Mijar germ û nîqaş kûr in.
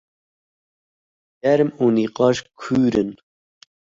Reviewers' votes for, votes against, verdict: 0, 2, rejected